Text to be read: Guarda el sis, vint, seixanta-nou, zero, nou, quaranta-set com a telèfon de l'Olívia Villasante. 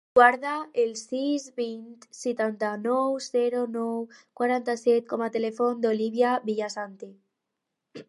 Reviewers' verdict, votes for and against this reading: rejected, 0, 4